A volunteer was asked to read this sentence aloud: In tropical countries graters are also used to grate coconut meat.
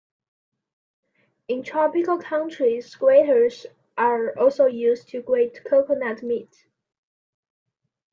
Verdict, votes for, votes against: accepted, 2, 0